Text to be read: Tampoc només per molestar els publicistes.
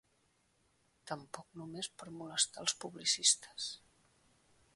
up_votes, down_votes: 0, 2